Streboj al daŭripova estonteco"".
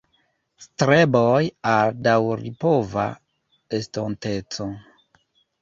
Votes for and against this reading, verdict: 2, 1, accepted